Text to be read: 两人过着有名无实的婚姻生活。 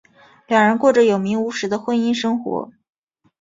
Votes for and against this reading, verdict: 6, 0, accepted